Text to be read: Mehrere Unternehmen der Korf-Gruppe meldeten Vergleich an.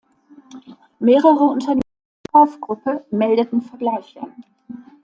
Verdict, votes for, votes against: rejected, 0, 2